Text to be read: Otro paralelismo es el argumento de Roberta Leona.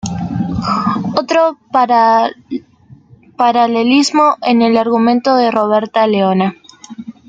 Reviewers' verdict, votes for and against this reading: rejected, 0, 2